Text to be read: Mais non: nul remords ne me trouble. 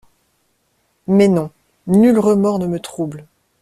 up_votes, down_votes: 2, 0